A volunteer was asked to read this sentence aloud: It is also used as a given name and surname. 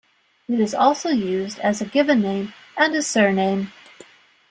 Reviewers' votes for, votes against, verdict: 0, 2, rejected